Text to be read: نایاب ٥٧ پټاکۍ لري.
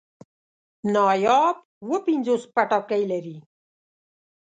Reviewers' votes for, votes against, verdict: 0, 2, rejected